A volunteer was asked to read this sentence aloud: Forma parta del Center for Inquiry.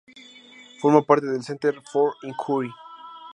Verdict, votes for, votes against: accepted, 2, 0